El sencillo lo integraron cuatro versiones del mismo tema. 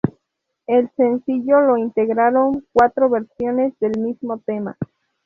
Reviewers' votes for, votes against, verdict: 4, 0, accepted